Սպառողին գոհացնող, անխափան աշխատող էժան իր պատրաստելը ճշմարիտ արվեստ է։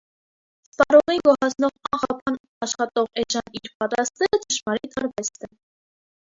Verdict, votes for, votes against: rejected, 0, 2